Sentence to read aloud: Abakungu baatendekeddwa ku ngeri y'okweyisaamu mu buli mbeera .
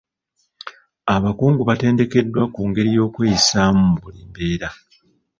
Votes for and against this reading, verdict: 1, 2, rejected